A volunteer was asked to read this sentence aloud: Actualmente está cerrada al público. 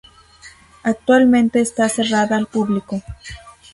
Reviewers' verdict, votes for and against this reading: accepted, 2, 0